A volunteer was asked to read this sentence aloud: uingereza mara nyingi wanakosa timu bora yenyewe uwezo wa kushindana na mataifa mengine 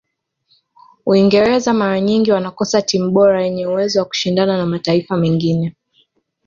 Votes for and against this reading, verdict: 2, 0, accepted